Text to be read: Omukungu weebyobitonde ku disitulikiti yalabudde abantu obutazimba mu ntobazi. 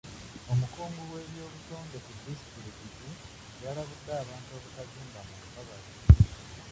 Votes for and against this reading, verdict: 0, 2, rejected